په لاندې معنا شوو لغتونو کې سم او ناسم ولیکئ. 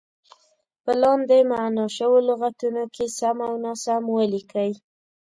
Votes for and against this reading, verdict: 2, 0, accepted